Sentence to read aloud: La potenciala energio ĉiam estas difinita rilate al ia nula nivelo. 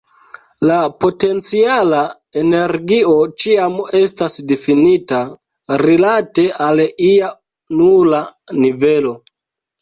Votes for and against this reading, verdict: 2, 1, accepted